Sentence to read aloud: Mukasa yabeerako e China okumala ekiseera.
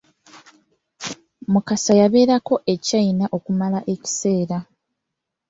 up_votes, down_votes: 2, 0